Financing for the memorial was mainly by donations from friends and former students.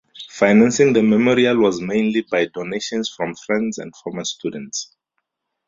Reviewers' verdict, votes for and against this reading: accepted, 2, 0